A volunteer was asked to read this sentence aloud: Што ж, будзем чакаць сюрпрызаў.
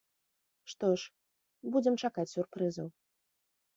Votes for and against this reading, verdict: 2, 0, accepted